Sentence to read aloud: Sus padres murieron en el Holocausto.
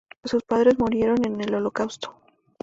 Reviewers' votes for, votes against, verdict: 2, 0, accepted